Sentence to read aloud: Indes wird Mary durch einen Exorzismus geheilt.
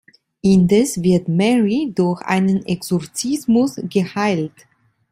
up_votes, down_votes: 2, 0